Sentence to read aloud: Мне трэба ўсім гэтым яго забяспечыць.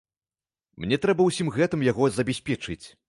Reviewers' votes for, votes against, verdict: 2, 0, accepted